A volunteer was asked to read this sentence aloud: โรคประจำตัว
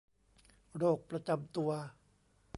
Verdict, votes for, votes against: rejected, 1, 2